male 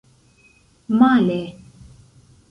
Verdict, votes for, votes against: rejected, 1, 2